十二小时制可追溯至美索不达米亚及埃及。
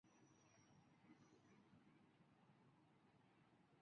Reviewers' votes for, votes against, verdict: 0, 3, rejected